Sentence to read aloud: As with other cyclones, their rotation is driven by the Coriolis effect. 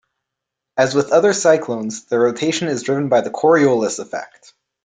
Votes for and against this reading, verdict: 2, 0, accepted